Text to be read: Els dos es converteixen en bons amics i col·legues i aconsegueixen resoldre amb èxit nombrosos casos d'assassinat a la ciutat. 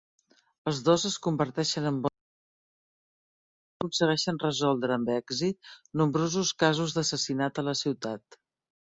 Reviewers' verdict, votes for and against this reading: rejected, 0, 2